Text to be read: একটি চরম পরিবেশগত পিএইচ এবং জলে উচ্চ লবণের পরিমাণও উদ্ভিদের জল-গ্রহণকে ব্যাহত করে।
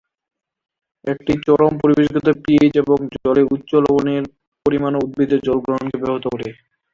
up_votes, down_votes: 0, 2